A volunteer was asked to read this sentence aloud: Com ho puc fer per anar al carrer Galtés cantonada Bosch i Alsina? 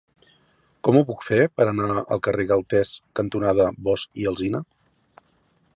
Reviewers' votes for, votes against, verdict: 3, 0, accepted